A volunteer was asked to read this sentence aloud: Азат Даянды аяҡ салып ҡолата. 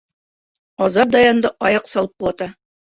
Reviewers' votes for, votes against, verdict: 2, 0, accepted